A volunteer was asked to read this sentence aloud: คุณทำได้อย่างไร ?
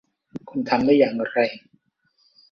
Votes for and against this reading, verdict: 2, 1, accepted